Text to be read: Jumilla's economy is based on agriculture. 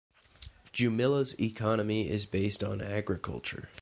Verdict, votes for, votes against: accepted, 2, 0